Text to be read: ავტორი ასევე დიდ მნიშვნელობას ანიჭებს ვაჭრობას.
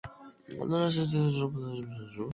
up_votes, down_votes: 0, 2